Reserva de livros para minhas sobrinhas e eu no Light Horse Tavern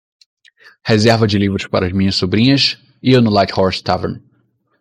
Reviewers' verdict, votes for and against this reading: accepted, 2, 0